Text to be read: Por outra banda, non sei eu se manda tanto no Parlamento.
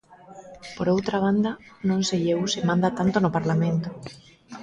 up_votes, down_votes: 2, 0